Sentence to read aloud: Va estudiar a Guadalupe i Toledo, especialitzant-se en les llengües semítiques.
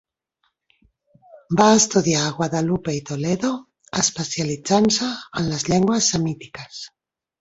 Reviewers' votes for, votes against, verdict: 2, 0, accepted